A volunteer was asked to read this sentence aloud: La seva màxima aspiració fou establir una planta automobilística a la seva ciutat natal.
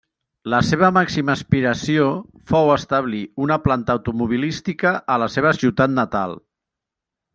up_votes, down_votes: 3, 0